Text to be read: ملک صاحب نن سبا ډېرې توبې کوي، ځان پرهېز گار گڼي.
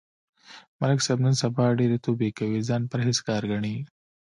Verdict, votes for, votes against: accepted, 3, 0